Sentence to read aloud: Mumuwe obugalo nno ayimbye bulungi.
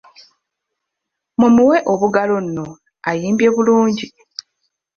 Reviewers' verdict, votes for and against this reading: accepted, 2, 0